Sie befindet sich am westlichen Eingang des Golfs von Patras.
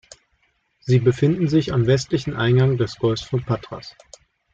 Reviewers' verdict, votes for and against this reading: rejected, 1, 2